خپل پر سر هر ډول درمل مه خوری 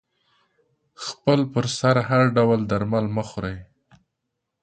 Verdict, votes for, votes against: accepted, 2, 0